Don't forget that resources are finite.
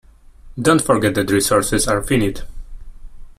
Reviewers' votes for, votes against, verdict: 1, 2, rejected